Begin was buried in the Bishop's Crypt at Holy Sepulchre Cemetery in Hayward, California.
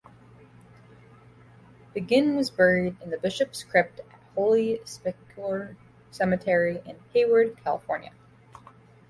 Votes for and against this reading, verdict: 1, 2, rejected